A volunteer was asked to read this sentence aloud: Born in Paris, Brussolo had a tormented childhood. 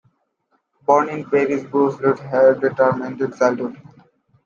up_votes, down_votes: 2, 1